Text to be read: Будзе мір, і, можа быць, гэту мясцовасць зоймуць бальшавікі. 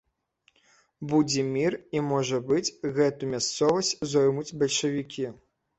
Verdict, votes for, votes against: accepted, 2, 0